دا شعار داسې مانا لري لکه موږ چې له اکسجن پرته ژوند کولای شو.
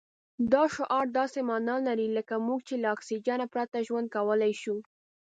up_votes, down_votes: 2, 0